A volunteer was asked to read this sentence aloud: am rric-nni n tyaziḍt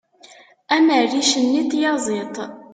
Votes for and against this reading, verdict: 3, 0, accepted